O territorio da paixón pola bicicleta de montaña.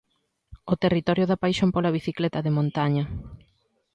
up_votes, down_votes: 2, 0